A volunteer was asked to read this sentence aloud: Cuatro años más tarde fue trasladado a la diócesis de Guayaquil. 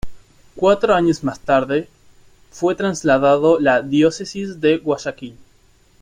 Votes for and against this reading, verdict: 0, 2, rejected